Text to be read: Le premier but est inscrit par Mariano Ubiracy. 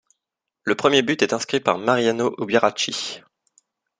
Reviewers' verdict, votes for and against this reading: accepted, 2, 0